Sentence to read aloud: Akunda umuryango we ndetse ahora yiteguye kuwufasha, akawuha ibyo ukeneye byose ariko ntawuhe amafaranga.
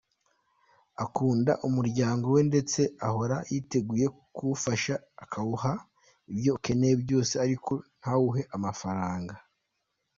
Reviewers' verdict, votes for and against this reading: accepted, 2, 0